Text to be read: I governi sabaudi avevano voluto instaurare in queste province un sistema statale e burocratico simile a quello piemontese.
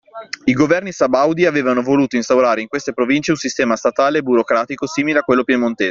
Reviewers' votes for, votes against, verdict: 2, 0, accepted